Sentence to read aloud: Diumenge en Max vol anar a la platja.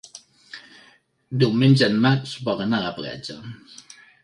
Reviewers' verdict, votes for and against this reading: accepted, 3, 0